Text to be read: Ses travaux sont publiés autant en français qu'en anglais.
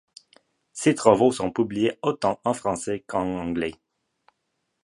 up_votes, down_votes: 2, 0